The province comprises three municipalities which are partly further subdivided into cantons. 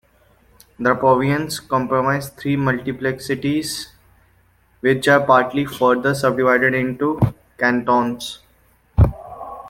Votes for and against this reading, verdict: 0, 2, rejected